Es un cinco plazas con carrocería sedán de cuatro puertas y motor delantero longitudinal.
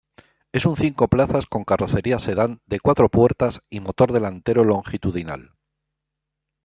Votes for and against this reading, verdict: 2, 0, accepted